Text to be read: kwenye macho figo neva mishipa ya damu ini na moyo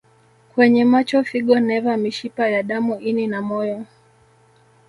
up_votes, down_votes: 2, 0